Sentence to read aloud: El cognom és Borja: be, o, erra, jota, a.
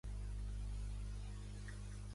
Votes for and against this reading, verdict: 0, 3, rejected